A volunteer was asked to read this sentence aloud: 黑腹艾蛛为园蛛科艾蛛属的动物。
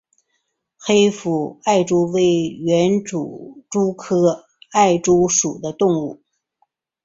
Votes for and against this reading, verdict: 1, 3, rejected